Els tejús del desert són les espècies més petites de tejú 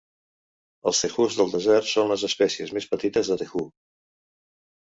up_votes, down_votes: 1, 2